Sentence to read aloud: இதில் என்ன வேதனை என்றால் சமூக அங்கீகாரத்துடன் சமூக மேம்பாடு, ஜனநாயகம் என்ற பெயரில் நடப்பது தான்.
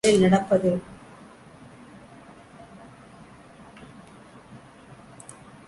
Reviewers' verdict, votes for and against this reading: rejected, 0, 2